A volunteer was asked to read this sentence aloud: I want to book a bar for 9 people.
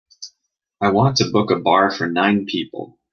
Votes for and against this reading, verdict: 0, 2, rejected